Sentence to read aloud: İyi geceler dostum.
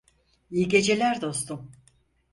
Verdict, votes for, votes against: accepted, 4, 0